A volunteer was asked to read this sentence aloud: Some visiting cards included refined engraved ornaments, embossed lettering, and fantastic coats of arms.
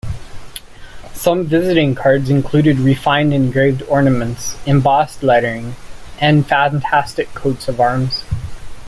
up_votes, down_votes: 0, 2